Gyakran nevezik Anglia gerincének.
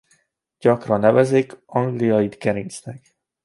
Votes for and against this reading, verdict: 0, 2, rejected